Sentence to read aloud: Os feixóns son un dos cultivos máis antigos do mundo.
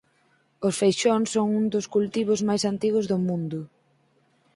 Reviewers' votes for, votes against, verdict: 8, 0, accepted